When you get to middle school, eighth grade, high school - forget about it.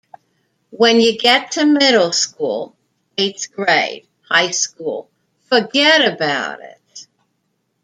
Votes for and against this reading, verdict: 2, 0, accepted